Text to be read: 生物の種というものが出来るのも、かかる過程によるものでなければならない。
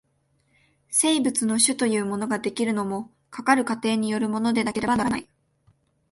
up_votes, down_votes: 2, 0